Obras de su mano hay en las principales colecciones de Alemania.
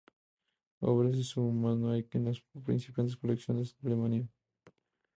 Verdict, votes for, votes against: rejected, 0, 2